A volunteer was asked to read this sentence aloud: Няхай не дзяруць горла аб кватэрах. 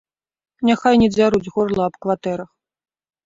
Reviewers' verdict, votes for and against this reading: rejected, 1, 2